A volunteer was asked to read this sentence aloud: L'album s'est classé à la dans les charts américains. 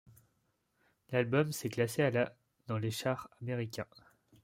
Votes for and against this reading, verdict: 0, 2, rejected